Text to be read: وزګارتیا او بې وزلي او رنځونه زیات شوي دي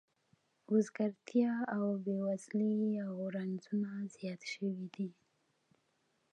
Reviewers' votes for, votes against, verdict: 2, 0, accepted